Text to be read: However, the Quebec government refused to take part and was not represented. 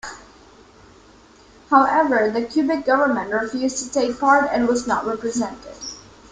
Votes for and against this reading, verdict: 2, 0, accepted